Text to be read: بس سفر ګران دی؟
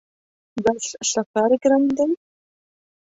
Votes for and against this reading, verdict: 0, 2, rejected